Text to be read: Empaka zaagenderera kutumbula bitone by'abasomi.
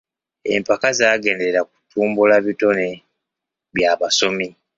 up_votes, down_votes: 2, 0